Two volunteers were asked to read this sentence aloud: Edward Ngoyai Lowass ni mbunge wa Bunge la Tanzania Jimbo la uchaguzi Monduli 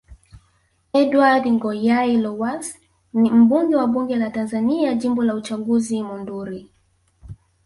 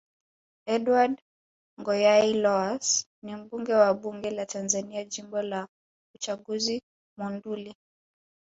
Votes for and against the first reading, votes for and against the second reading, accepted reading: 0, 2, 2, 1, second